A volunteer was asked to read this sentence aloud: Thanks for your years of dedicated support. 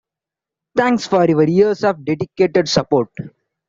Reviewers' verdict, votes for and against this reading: accepted, 2, 0